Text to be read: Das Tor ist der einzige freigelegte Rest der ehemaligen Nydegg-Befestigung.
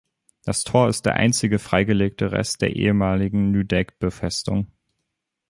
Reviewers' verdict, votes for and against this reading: rejected, 2, 2